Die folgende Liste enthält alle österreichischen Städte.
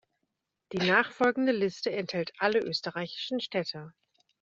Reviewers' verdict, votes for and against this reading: rejected, 1, 2